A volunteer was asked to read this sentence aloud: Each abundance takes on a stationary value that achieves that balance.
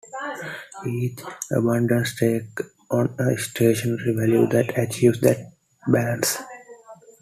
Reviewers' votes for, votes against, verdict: 2, 0, accepted